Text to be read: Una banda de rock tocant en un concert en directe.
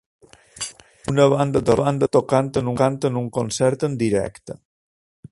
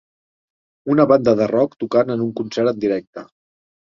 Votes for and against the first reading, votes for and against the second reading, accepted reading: 0, 2, 3, 0, second